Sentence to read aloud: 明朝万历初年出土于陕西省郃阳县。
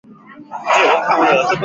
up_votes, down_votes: 1, 6